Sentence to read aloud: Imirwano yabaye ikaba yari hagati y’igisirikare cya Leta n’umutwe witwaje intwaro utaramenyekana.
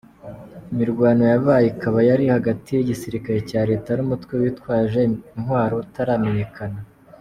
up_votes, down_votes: 2, 0